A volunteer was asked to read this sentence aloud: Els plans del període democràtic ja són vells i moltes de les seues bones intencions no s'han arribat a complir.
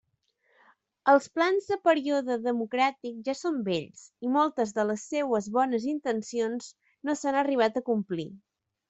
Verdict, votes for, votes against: rejected, 1, 2